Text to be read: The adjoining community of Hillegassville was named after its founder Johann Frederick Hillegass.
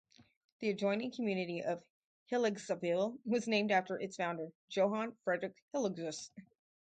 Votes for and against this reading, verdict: 4, 0, accepted